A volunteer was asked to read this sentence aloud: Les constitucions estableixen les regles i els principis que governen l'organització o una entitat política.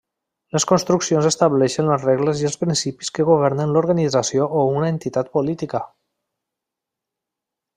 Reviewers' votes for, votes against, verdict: 0, 2, rejected